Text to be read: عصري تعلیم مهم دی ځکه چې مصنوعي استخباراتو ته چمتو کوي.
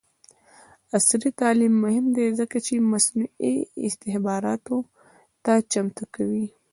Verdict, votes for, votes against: rejected, 1, 2